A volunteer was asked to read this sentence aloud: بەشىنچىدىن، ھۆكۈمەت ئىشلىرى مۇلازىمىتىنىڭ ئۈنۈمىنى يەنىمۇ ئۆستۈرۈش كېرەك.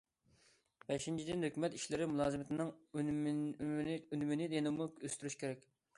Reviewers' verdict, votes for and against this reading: rejected, 0, 2